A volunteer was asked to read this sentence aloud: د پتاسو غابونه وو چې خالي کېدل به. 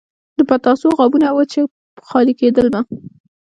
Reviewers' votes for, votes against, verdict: 3, 1, accepted